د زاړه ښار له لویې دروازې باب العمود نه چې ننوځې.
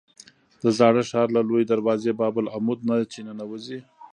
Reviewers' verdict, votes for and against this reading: rejected, 1, 2